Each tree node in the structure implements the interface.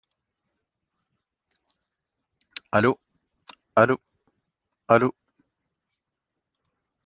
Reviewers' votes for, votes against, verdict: 1, 2, rejected